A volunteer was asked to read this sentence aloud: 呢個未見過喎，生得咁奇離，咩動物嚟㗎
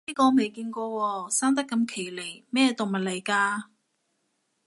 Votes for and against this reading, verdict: 2, 0, accepted